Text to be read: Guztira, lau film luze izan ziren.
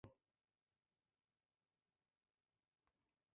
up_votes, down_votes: 0, 5